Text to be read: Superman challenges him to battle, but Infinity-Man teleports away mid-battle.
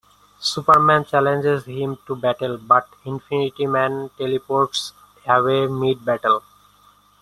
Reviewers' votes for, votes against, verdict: 2, 0, accepted